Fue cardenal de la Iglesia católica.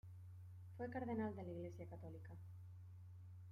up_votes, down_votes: 1, 2